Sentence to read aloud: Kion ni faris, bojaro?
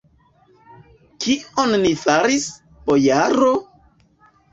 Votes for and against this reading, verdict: 0, 2, rejected